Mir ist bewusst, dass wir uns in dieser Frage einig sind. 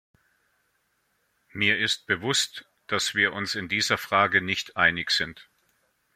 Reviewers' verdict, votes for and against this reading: rejected, 0, 2